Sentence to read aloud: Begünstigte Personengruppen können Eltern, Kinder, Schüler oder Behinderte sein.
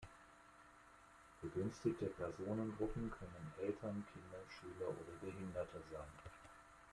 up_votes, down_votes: 1, 2